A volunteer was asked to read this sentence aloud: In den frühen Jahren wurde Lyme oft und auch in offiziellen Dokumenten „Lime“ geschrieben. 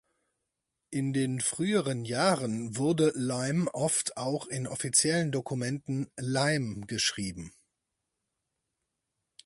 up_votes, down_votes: 0, 4